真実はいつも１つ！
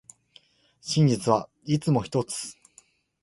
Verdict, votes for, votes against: rejected, 0, 2